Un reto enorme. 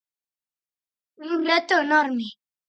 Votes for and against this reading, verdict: 4, 0, accepted